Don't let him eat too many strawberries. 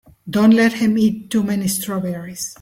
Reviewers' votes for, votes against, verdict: 3, 0, accepted